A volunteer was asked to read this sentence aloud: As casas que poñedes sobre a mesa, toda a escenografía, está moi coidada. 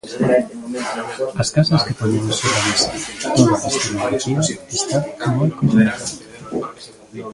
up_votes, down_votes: 0, 2